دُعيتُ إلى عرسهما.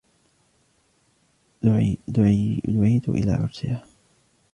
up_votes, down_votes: 0, 2